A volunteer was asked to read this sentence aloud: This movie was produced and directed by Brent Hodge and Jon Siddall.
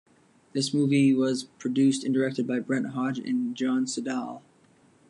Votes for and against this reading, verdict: 2, 0, accepted